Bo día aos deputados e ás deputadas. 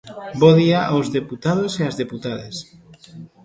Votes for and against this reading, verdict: 1, 2, rejected